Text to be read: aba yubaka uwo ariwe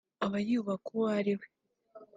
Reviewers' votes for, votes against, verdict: 3, 1, accepted